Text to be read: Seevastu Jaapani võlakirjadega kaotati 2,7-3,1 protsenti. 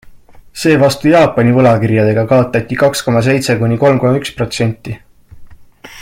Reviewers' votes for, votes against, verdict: 0, 2, rejected